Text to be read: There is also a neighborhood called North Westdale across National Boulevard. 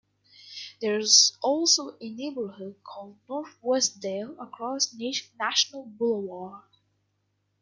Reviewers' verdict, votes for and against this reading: rejected, 0, 2